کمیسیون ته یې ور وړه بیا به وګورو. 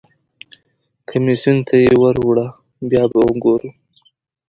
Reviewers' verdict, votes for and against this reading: accepted, 2, 0